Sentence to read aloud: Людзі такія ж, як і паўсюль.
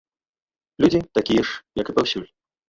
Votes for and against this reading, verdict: 1, 2, rejected